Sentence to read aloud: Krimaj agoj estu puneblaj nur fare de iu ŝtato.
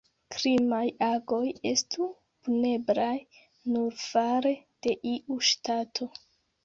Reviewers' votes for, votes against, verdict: 2, 1, accepted